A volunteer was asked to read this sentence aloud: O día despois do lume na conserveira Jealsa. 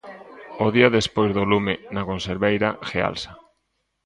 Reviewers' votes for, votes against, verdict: 1, 2, rejected